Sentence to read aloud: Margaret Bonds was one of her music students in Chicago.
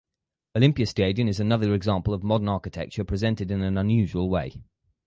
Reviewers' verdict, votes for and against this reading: rejected, 0, 4